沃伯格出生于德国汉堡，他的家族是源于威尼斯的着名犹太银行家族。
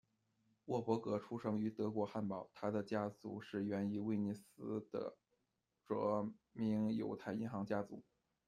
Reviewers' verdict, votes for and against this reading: accepted, 2, 1